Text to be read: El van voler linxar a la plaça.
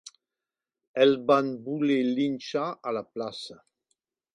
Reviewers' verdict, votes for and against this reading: rejected, 1, 2